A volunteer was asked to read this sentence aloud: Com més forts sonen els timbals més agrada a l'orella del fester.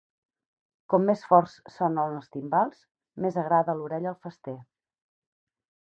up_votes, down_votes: 2, 2